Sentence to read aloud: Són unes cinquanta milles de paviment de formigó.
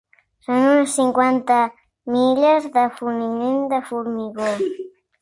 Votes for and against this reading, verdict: 0, 3, rejected